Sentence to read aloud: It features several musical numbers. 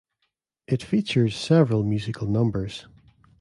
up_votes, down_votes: 2, 0